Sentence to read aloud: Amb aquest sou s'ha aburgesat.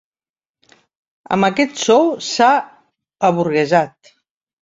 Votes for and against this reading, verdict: 0, 2, rejected